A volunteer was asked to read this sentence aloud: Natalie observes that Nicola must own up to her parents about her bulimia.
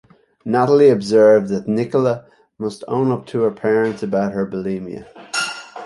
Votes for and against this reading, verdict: 2, 1, accepted